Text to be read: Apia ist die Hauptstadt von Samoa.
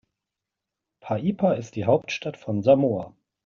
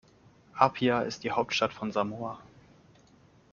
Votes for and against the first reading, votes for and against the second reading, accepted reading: 0, 3, 2, 0, second